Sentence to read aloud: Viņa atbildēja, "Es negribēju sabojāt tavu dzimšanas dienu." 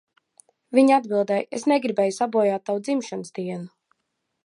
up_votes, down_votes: 4, 2